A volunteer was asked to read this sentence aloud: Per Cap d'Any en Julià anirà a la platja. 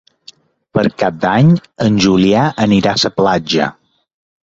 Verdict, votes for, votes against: rejected, 0, 2